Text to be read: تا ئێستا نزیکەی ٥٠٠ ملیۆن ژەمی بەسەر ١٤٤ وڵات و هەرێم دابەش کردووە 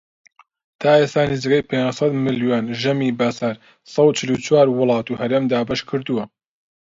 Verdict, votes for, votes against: rejected, 0, 2